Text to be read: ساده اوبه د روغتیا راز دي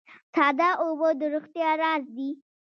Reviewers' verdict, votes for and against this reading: accepted, 2, 0